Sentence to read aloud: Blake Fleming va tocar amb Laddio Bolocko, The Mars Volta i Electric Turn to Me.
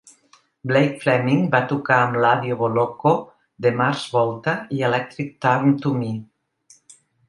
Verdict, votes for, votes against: accepted, 3, 0